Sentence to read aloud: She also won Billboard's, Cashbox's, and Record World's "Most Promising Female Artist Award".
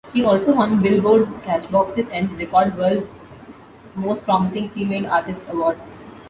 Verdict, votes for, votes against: rejected, 1, 2